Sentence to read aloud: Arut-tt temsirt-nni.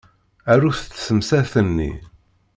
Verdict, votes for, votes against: rejected, 1, 2